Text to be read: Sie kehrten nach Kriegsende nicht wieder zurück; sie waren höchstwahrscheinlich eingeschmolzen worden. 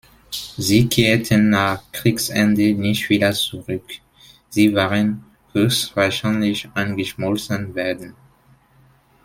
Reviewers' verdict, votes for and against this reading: rejected, 0, 2